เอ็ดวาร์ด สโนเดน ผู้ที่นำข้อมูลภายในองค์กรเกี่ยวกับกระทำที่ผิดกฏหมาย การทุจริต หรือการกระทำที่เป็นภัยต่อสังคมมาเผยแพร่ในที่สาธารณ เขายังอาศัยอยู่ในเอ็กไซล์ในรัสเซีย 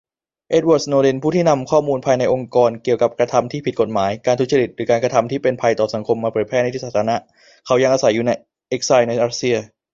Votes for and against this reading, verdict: 2, 1, accepted